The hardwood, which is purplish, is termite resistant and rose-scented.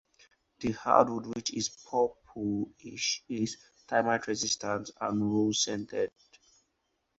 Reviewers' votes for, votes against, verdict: 2, 4, rejected